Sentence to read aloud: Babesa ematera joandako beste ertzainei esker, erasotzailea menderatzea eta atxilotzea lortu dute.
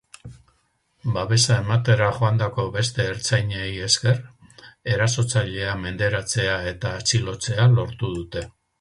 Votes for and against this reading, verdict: 6, 2, accepted